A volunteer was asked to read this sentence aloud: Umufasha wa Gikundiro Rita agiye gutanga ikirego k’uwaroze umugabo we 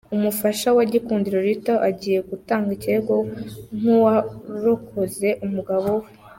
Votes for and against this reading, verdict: 0, 2, rejected